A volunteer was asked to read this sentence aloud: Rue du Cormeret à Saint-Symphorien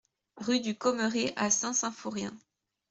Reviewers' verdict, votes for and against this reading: rejected, 0, 2